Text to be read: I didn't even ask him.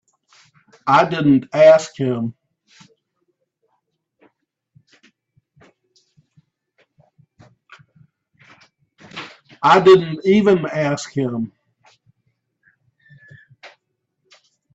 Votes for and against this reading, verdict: 0, 3, rejected